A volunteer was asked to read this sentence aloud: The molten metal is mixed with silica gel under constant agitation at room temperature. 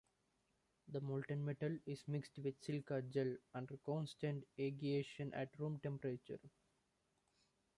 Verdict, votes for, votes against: rejected, 0, 2